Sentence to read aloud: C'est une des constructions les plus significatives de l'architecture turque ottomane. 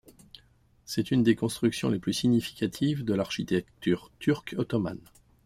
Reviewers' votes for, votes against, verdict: 2, 1, accepted